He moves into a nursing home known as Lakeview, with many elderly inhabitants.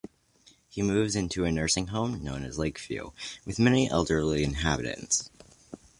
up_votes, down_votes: 2, 0